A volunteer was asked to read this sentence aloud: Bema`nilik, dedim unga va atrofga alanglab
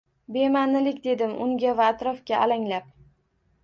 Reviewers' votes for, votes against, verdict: 1, 2, rejected